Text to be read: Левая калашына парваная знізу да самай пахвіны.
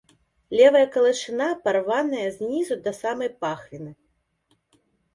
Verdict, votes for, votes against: rejected, 1, 2